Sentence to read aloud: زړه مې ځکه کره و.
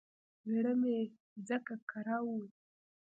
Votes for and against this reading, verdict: 1, 2, rejected